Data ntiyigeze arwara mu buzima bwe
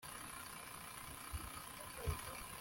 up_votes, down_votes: 1, 2